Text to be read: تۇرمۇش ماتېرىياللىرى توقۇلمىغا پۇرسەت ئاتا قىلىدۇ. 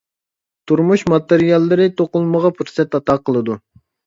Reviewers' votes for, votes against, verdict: 2, 0, accepted